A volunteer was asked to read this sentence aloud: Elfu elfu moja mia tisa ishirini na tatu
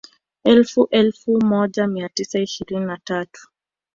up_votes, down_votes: 1, 2